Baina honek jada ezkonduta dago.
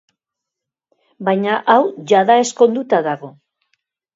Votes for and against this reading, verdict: 1, 3, rejected